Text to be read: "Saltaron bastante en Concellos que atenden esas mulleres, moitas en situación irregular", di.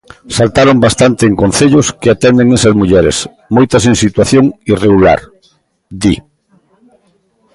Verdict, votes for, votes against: accepted, 2, 0